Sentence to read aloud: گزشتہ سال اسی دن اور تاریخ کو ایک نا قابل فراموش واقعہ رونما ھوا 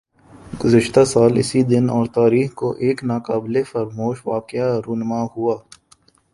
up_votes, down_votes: 1, 2